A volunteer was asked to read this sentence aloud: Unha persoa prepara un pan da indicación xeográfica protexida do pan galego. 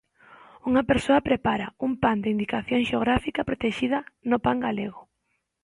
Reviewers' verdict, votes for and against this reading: rejected, 0, 2